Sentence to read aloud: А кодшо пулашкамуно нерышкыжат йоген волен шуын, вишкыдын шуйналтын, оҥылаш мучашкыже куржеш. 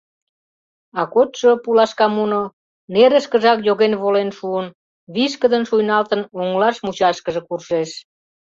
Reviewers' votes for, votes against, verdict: 1, 2, rejected